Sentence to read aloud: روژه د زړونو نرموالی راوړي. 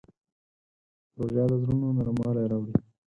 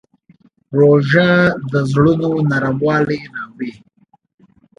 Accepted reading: second